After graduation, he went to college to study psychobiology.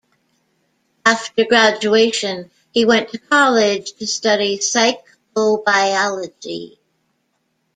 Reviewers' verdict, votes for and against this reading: accepted, 2, 0